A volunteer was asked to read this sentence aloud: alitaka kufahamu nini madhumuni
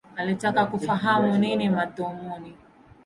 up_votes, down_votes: 1, 2